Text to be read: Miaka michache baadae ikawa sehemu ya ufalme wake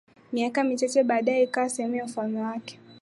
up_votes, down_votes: 8, 4